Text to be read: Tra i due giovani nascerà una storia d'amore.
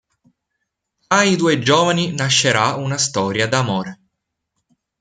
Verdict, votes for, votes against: accepted, 2, 0